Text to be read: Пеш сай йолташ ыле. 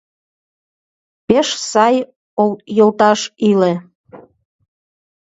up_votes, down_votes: 1, 2